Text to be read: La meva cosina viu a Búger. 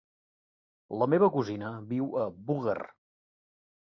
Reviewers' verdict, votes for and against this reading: rejected, 0, 2